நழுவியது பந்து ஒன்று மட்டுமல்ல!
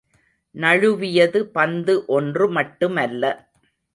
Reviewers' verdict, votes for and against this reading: accepted, 2, 0